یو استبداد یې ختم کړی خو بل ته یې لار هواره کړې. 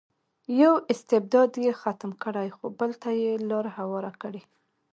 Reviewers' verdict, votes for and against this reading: accepted, 2, 1